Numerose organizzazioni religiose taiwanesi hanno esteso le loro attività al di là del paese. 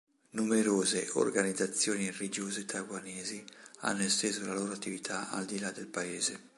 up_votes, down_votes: 2, 3